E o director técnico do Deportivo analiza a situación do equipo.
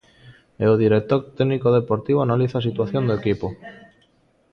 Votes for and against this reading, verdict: 2, 0, accepted